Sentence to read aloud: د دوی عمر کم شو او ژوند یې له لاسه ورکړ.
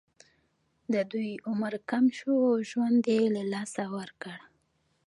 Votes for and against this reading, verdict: 0, 2, rejected